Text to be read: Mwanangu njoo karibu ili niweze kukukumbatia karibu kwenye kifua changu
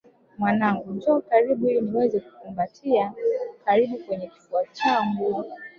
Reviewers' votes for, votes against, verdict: 2, 0, accepted